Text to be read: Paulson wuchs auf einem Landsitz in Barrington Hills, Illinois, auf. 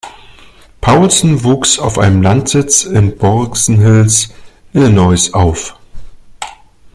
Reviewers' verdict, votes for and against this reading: rejected, 0, 2